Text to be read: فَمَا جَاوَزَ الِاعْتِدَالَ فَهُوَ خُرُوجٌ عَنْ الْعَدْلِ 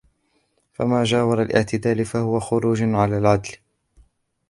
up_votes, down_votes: 0, 2